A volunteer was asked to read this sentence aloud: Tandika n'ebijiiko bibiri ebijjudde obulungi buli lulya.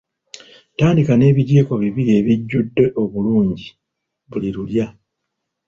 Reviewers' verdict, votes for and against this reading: accepted, 2, 0